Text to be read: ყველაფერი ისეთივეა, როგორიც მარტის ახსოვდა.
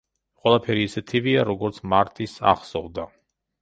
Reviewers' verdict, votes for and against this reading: rejected, 0, 2